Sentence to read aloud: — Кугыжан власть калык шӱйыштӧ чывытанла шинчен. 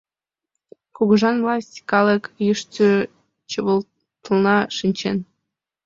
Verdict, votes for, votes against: rejected, 1, 2